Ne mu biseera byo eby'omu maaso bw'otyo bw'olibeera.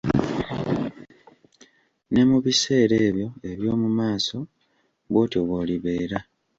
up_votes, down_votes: 1, 2